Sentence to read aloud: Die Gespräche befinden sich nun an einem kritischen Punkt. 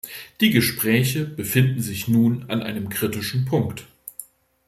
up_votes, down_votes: 2, 0